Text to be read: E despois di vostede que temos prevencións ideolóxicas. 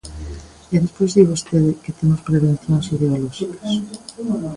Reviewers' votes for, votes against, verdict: 1, 2, rejected